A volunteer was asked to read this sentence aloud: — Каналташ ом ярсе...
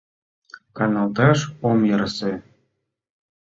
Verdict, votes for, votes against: accepted, 2, 0